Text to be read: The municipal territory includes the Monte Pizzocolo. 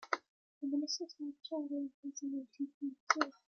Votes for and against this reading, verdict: 0, 2, rejected